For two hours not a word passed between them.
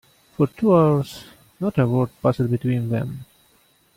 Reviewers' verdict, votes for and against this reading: rejected, 0, 2